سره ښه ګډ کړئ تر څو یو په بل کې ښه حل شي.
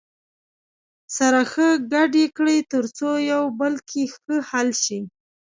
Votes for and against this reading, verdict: 1, 2, rejected